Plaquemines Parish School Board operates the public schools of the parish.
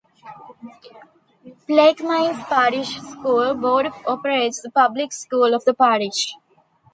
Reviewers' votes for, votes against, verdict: 1, 2, rejected